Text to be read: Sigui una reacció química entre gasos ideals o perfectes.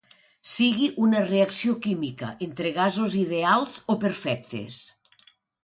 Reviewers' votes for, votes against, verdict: 2, 0, accepted